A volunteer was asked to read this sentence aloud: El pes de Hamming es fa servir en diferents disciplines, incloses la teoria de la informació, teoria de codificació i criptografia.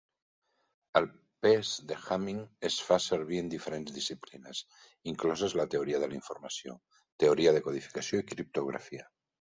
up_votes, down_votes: 2, 0